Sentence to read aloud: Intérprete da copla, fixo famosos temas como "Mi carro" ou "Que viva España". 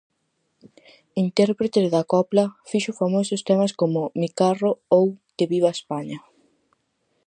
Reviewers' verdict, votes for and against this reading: accepted, 4, 0